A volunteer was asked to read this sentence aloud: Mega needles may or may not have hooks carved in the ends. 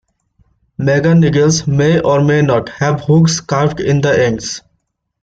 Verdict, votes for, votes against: accepted, 2, 1